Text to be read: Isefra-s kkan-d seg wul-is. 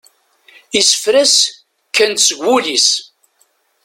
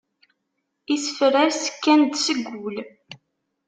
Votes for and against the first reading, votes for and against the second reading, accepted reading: 2, 0, 0, 2, first